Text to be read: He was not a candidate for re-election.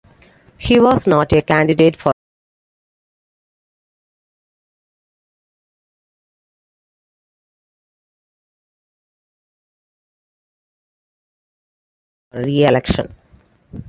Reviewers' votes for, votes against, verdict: 0, 2, rejected